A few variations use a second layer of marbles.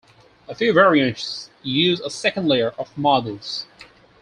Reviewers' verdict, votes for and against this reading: rejected, 0, 4